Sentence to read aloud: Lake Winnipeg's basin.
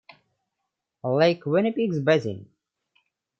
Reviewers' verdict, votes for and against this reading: accepted, 2, 0